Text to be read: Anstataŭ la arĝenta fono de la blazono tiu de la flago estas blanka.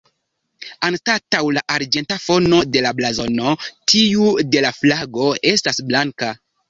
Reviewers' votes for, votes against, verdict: 1, 2, rejected